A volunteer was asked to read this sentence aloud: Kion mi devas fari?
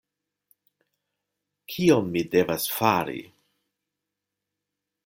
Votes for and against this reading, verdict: 2, 0, accepted